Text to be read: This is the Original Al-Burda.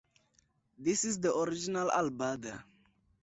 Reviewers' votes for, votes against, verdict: 4, 0, accepted